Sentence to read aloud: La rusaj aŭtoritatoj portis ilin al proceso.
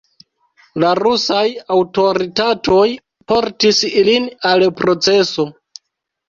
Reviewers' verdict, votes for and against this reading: rejected, 1, 2